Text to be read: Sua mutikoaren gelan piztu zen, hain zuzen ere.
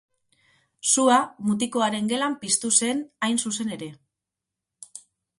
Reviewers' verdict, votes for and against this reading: accepted, 4, 0